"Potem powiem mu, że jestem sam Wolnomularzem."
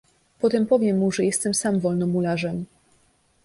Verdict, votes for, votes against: accepted, 2, 0